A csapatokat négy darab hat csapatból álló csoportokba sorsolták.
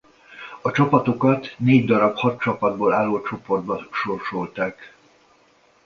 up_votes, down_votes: 1, 2